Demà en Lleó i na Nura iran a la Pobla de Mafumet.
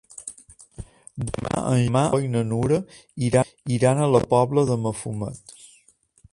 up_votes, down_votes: 0, 2